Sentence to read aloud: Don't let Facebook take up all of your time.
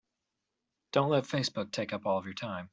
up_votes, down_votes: 4, 0